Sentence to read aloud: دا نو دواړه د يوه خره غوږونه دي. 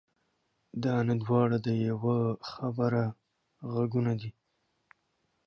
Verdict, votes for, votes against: rejected, 0, 2